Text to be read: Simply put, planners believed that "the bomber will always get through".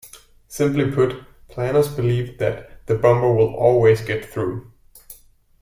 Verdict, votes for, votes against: rejected, 1, 2